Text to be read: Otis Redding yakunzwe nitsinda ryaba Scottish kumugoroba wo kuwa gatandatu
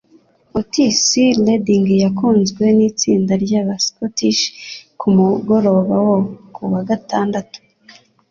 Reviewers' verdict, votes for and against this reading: accepted, 2, 0